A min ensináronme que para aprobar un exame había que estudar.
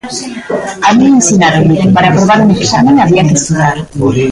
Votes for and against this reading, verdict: 0, 2, rejected